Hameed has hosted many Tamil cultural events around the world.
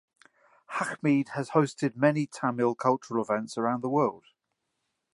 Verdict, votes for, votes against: accepted, 2, 1